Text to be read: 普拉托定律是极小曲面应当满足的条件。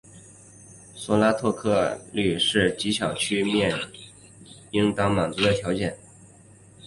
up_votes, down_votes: 1, 2